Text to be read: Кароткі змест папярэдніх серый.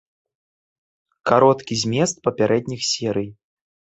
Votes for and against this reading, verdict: 2, 0, accepted